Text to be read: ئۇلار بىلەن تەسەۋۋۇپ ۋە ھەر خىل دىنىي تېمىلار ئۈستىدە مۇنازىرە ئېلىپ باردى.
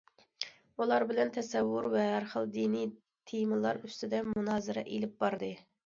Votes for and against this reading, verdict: 2, 0, accepted